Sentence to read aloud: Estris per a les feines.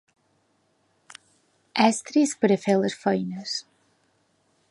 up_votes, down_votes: 1, 2